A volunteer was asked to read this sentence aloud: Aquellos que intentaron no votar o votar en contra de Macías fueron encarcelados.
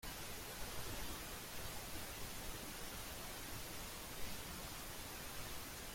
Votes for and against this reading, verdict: 0, 2, rejected